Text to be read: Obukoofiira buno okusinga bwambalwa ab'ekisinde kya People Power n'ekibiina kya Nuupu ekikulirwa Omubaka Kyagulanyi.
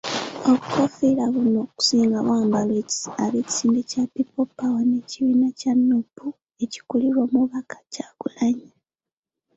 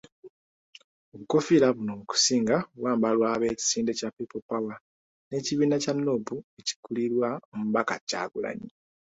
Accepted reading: second